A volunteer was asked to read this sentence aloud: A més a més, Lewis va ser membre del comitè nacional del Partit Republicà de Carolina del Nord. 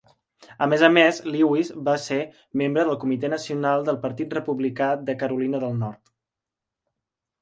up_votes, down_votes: 3, 0